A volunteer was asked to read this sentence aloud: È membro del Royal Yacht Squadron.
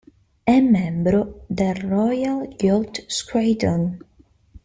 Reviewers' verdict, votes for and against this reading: accepted, 2, 0